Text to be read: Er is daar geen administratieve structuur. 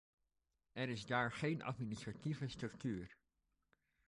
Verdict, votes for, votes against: accepted, 2, 0